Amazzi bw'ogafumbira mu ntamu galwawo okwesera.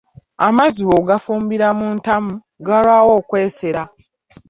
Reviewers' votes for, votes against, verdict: 2, 0, accepted